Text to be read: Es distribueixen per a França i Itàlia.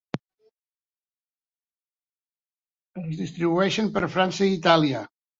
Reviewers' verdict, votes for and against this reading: accepted, 2, 0